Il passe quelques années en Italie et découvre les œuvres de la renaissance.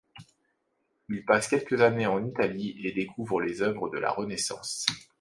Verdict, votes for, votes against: accepted, 2, 0